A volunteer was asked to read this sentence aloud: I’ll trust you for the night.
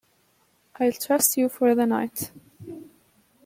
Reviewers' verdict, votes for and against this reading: accepted, 3, 0